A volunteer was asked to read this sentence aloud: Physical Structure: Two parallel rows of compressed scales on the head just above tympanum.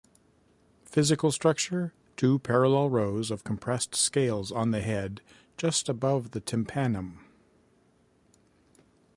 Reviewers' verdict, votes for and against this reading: rejected, 1, 2